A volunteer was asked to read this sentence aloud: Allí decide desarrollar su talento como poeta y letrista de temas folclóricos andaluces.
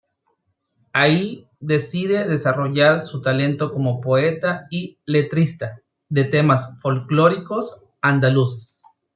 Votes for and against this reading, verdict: 0, 2, rejected